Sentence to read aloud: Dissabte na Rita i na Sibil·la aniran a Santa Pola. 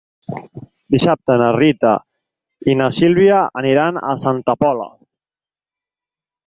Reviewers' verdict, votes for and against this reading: rejected, 4, 8